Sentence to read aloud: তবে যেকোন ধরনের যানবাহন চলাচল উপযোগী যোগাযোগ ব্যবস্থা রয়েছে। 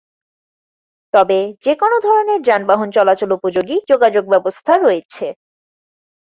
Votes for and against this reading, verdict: 4, 0, accepted